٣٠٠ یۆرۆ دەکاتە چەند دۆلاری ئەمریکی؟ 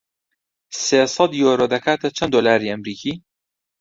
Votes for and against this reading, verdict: 0, 2, rejected